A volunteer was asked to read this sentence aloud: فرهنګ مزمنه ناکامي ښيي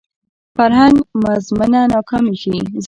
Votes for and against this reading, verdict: 0, 2, rejected